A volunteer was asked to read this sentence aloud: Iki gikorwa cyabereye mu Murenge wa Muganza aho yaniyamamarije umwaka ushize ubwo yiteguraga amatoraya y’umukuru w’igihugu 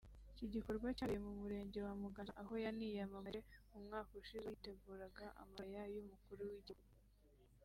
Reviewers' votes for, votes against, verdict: 1, 2, rejected